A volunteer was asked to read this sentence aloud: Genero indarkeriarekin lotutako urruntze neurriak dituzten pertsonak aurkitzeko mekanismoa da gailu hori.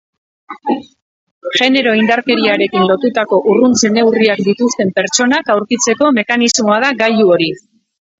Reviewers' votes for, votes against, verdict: 0, 2, rejected